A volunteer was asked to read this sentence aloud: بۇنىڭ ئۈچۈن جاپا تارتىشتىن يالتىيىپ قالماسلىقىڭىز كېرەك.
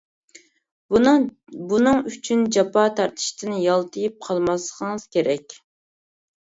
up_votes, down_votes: 1, 2